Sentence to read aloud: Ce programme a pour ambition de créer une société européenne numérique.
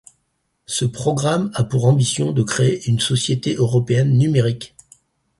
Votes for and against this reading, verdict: 4, 0, accepted